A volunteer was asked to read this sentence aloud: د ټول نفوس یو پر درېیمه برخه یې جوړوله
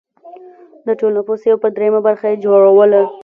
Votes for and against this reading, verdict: 3, 0, accepted